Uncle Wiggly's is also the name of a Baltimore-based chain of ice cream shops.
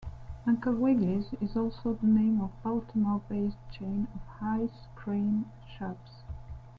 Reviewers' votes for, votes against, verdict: 1, 2, rejected